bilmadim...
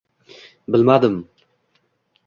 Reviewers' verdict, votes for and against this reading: accepted, 2, 1